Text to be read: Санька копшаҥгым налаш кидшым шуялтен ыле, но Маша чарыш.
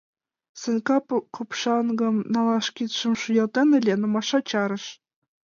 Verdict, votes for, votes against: rejected, 1, 3